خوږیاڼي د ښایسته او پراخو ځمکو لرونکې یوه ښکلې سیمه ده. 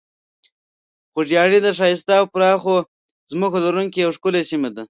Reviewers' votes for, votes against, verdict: 1, 2, rejected